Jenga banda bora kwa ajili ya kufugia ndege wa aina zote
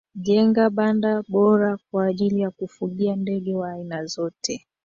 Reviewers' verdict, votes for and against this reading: rejected, 0, 2